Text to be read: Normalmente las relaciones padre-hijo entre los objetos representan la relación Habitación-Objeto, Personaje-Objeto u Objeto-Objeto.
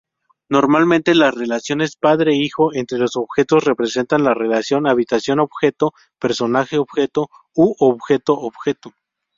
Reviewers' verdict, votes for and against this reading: accepted, 2, 0